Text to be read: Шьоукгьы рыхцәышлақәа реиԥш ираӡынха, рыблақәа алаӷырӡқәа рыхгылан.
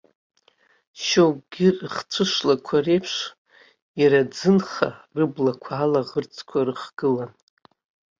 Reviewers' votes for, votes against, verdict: 0, 2, rejected